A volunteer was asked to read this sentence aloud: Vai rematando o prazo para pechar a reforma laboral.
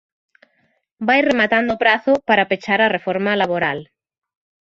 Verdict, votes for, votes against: accepted, 2, 0